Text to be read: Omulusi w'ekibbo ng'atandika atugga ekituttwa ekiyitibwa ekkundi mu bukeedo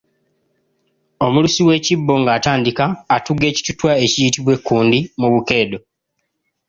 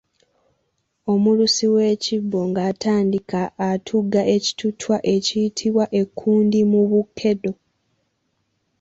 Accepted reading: first